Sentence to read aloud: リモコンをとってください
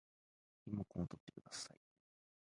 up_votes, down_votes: 1, 2